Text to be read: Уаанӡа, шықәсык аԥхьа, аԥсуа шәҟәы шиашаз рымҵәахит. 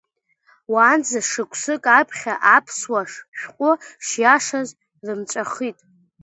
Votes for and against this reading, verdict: 1, 2, rejected